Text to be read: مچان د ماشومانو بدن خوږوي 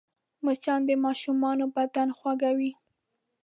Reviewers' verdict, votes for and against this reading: accepted, 2, 0